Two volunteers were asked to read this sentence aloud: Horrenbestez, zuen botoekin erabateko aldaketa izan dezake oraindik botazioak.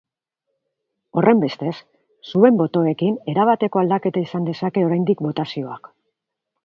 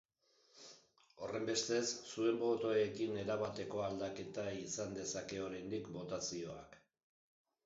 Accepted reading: first